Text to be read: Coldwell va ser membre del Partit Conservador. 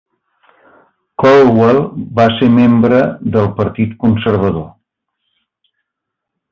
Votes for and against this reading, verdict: 2, 0, accepted